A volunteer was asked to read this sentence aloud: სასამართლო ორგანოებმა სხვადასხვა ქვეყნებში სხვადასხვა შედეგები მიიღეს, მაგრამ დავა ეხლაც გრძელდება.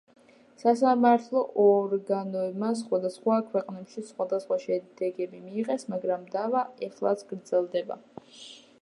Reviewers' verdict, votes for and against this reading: rejected, 1, 2